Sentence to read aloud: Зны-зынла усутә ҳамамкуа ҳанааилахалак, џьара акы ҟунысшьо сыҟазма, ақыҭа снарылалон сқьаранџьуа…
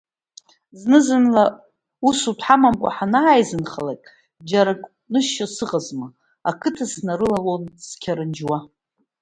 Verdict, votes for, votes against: rejected, 1, 2